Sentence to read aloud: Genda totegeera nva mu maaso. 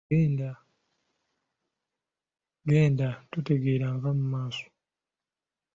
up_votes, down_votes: 0, 2